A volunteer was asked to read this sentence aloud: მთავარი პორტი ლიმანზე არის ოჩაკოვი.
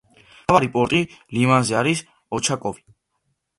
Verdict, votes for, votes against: rejected, 0, 2